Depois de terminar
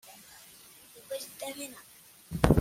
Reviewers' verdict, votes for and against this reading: rejected, 1, 2